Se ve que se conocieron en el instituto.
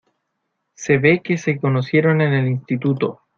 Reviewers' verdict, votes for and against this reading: accepted, 2, 0